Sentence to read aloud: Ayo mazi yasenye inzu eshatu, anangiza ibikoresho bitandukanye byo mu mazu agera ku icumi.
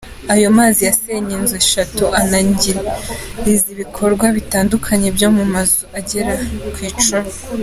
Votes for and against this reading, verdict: 2, 0, accepted